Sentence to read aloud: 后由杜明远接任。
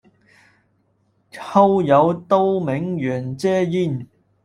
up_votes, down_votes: 2, 1